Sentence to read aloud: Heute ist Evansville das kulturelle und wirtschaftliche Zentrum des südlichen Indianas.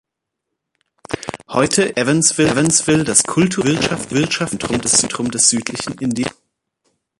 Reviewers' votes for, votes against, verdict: 0, 2, rejected